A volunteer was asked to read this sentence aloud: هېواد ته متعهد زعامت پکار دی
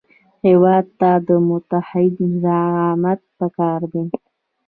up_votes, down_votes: 2, 0